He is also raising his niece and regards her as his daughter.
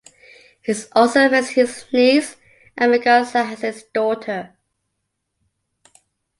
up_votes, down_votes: 0, 2